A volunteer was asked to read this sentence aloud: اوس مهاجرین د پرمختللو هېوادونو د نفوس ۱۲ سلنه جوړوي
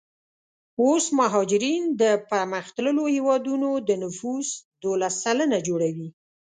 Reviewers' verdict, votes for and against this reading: rejected, 0, 2